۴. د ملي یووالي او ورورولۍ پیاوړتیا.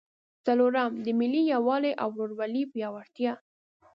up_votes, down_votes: 0, 2